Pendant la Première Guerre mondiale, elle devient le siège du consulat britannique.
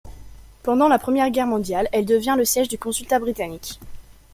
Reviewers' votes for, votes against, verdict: 1, 2, rejected